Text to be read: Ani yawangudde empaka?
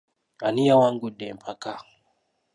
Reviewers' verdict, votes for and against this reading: accepted, 2, 0